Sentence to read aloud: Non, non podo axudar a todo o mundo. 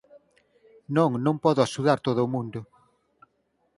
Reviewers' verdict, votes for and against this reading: rejected, 2, 4